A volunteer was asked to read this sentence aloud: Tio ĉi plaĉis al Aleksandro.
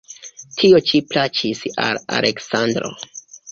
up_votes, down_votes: 2, 0